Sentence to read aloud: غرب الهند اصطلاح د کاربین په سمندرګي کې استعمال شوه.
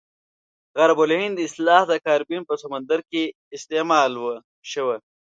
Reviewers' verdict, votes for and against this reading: rejected, 0, 2